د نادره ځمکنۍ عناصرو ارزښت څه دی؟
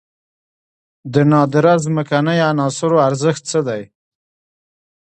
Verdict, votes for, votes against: accepted, 2, 1